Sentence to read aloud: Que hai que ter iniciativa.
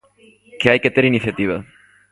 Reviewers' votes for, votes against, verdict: 0, 2, rejected